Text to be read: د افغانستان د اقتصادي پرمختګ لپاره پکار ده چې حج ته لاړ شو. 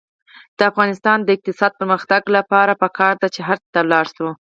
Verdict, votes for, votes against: rejected, 2, 4